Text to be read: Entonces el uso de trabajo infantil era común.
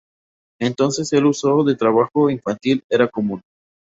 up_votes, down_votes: 2, 0